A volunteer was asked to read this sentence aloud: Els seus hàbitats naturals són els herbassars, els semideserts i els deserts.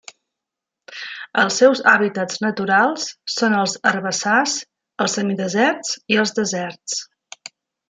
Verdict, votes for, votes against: accepted, 4, 0